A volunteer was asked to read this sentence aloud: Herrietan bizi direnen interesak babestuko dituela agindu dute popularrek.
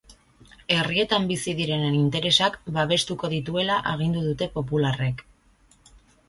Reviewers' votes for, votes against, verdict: 2, 0, accepted